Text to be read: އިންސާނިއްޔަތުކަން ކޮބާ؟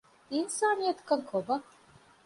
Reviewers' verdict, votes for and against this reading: accepted, 2, 0